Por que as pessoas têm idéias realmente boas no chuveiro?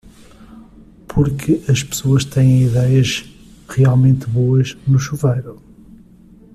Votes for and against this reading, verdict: 2, 0, accepted